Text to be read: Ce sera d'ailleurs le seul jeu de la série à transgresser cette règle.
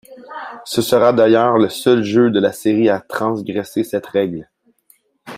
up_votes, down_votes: 2, 0